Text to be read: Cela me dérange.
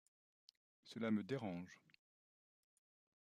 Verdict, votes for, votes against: accepted, 2, 0